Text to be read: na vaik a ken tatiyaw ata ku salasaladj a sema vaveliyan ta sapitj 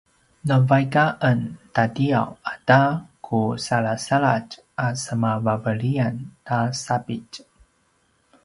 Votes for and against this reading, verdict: 2, 0, accepted